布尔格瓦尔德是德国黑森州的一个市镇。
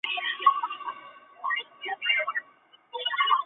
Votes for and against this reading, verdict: 3, 2, accepted